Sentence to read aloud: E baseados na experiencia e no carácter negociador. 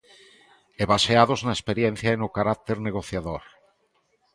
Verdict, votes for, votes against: accepted, 2, 0